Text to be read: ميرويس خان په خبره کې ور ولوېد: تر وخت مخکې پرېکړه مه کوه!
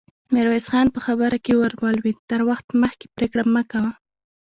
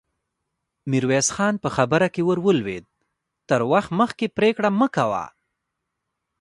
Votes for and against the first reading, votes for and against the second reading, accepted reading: 0, 2, 2, 0, second